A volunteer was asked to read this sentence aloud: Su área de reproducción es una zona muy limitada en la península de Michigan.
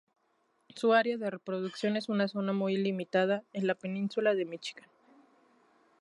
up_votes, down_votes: 2, 0